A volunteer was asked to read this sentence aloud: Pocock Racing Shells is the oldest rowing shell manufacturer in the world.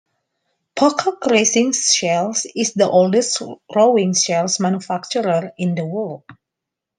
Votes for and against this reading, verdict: 2, 1, accepted